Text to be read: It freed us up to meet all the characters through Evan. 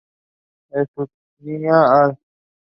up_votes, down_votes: 0, 2